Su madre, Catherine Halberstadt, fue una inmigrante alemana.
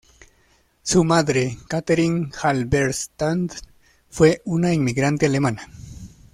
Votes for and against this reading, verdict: 1, 2, rejected